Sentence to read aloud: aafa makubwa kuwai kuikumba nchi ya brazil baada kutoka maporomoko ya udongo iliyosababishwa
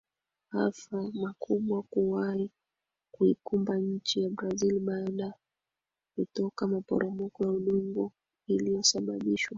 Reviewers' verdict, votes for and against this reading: rejected, 5, 7